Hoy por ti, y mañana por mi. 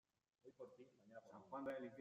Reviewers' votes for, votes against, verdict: 0, 2, rejected